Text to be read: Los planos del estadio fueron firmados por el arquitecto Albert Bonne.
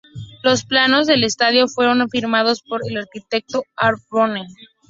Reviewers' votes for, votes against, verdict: 0, 2, rejected